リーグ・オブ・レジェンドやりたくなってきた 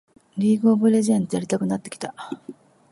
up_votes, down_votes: 2, 0